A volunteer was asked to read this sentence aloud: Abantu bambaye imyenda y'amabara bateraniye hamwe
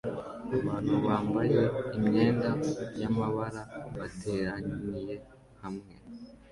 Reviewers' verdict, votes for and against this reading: accepted, 2, 0